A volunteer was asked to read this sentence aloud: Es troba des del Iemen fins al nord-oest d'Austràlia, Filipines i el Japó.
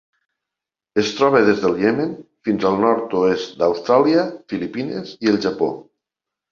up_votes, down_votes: 2, 0